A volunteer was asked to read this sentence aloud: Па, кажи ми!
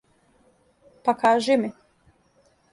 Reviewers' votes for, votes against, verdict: 1, 2, rejected